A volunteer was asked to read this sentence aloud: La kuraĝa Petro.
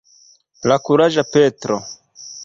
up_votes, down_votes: 2, 0